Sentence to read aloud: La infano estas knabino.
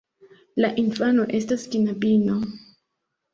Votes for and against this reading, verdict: 2, 0, accepted